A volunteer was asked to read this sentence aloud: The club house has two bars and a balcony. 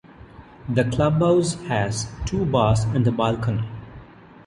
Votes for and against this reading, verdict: 2, 0, accepted